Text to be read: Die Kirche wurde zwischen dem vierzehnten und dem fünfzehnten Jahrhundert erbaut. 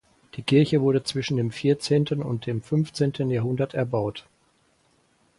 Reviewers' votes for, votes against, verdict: 4, 0, accepted